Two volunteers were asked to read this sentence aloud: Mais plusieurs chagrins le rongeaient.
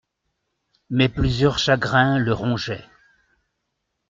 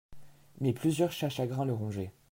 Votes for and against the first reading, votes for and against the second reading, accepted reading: 2, 0, 0, 3, first